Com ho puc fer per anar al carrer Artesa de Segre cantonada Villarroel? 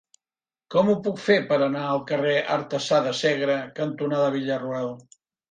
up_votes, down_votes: 0, 2